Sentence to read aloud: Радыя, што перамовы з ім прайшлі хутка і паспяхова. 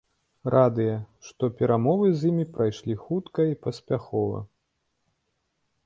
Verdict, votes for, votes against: rejected, 1, 2